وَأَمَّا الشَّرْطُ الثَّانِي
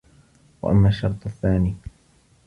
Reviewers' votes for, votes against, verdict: 2, 0, accepted